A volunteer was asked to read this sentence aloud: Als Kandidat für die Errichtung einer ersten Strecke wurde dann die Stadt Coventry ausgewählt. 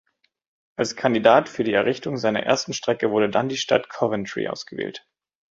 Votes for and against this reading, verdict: 1, 2, rejected